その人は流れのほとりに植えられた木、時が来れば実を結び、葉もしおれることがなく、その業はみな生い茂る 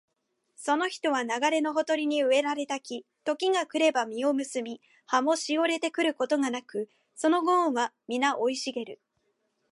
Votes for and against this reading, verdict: 2, 0, accepted